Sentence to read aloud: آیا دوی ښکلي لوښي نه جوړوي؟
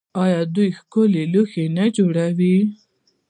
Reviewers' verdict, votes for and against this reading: accepted, 2, 0